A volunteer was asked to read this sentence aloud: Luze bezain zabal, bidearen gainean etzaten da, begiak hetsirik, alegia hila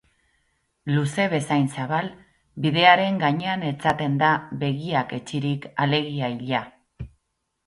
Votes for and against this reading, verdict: 2, 2, rejected